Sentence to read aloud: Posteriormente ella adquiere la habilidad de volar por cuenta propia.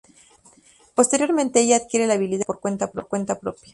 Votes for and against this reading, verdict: 2, 2, rejected